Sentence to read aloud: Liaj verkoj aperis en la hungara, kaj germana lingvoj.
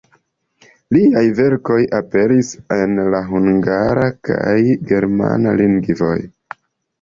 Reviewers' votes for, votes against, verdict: 1, 2, rejected